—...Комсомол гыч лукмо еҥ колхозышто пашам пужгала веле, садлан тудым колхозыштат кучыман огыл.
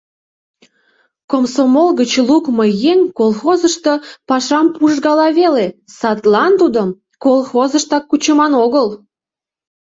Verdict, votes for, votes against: rejected, 0, 2